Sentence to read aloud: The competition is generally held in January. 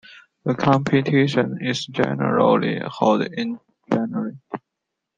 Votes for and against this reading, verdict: 0, 2, rejected